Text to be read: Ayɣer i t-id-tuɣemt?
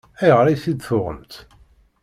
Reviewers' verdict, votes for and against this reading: accepted, 2, 0